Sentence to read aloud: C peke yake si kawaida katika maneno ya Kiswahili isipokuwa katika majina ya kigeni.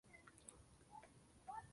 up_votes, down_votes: 0, 9